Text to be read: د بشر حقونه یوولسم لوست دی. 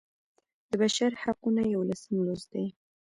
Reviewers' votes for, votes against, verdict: 1, 2, rejected